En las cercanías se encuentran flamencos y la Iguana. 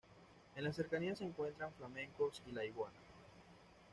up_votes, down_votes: 1, 2